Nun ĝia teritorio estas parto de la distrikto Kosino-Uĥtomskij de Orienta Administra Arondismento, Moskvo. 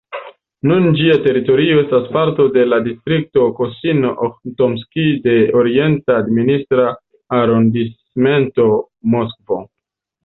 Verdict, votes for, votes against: rejected, 1, 2